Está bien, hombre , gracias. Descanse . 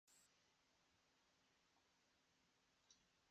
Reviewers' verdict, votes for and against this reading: rejected, 0, 2